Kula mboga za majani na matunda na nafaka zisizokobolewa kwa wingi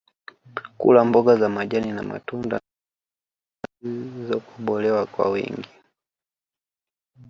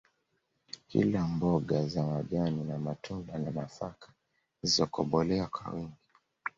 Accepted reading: first